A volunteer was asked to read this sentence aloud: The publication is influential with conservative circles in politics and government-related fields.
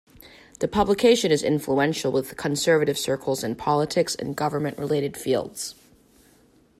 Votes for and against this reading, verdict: 2, 0, accepted